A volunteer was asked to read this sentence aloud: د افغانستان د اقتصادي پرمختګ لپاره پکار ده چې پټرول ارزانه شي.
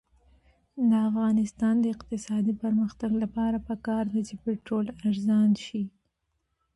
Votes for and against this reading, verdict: 2, 1, accepted